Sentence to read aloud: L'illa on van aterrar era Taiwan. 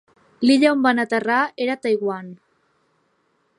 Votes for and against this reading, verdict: 4, 1, accepted